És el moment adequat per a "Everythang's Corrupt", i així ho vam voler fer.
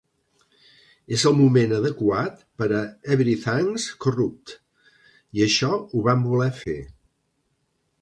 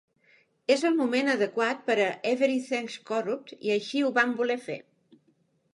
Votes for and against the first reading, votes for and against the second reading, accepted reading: 0, 2, 2, 0, second